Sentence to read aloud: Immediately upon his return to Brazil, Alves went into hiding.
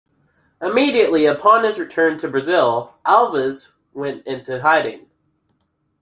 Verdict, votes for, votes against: accepted, 2, 0